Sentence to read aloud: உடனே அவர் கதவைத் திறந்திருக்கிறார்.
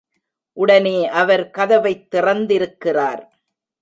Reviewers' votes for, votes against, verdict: 2, 0, accepted